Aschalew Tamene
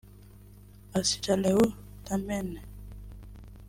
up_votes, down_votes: 0, 2